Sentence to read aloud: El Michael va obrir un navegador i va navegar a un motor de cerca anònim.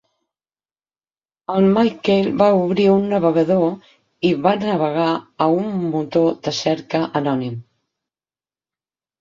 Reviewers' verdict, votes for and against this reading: rejected, 0, 6